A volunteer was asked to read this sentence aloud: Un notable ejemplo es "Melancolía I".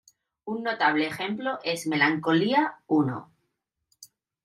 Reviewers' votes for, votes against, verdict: 2, 0, accepted